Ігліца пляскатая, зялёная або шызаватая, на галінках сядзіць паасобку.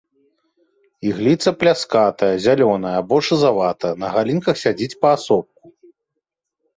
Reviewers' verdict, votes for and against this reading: rejected, 1, 2